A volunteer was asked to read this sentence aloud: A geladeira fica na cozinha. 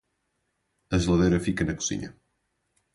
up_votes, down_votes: 4, 0